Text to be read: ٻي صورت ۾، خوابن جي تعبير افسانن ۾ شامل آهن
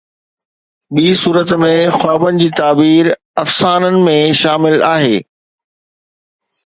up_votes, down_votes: 2, 0